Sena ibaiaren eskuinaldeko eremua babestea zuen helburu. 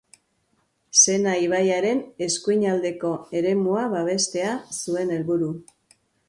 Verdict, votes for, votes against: accepted, 5, 1